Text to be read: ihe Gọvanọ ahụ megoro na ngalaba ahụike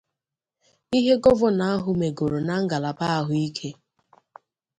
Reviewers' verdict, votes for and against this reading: accepted, 2, 0